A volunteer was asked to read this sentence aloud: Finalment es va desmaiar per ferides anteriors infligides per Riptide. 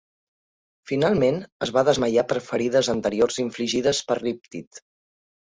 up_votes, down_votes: 2, 1